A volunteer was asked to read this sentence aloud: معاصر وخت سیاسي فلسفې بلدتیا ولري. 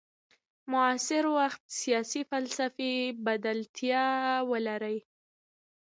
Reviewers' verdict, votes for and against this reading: accepted, 2, 1